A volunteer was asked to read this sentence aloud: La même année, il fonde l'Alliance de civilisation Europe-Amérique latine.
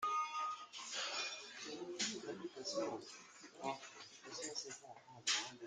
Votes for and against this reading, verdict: 0, 2, rejected